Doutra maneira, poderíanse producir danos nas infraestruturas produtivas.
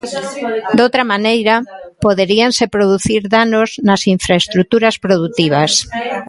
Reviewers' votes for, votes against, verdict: 0, 2, rejected